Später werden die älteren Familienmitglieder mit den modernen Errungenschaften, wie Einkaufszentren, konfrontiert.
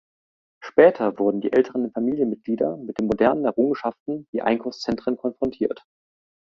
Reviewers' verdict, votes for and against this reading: rejected, 1, 2